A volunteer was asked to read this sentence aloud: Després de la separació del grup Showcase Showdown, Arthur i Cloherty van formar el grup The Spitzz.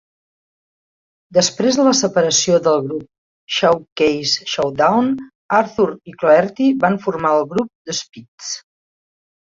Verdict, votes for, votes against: accepted, 2, 0